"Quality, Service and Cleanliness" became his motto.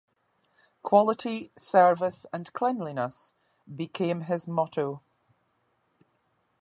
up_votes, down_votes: 2, 0